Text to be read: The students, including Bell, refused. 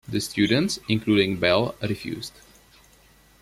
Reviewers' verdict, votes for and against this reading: accepted, 2, 0